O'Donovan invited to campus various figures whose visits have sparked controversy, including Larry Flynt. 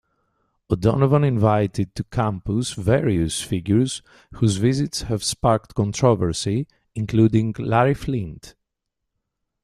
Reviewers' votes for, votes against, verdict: 2, 0, accepted